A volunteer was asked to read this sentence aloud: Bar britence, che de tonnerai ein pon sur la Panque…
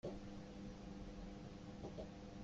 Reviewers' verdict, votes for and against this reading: rejected, 1, 2